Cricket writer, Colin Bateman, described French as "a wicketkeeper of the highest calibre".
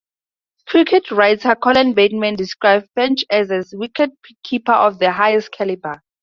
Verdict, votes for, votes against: accepted, 2, 0